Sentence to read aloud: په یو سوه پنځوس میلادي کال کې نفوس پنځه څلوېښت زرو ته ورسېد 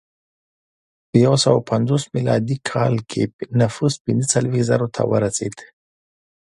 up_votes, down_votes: 2, 0